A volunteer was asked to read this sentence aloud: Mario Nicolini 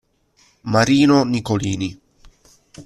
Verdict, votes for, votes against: rejected, 0, 2